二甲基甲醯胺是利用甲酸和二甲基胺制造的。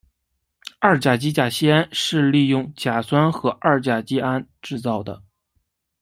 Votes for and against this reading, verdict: 2, 1, accepted